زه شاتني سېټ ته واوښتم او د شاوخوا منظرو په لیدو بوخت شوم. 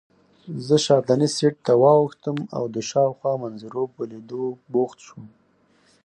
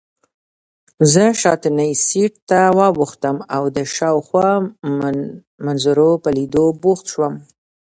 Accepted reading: first